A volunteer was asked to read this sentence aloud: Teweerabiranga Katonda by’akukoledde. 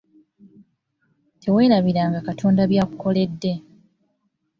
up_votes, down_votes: 3, 0